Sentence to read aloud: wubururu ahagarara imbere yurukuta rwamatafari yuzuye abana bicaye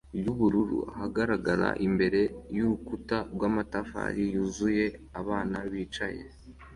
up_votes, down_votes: 2, 1